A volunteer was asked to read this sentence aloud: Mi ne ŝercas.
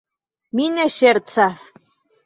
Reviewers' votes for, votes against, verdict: 2, 0, accepted